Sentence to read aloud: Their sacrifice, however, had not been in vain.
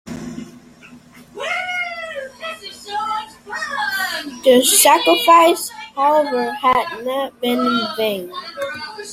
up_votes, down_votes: 0, 2